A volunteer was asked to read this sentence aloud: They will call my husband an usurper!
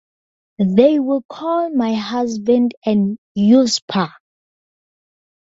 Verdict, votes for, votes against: accepted, 2, 0